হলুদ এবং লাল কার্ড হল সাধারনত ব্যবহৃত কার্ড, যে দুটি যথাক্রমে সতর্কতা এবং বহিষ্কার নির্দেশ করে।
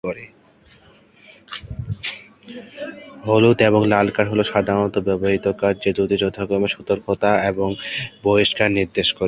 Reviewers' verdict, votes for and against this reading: accepted, 6, 2